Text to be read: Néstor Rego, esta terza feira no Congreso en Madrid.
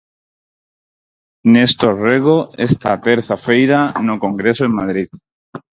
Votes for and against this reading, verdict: 4, 0, accepted